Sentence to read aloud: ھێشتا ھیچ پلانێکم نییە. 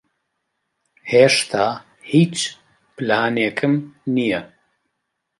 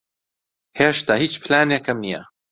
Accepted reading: second